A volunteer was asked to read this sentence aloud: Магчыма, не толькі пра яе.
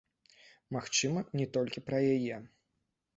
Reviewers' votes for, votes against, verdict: 1, 2, rejected